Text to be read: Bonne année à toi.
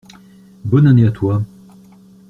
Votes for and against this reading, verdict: 2, 1, accepted